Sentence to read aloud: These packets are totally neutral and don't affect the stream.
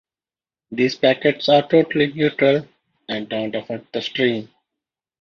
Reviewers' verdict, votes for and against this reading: rejected, 1, 2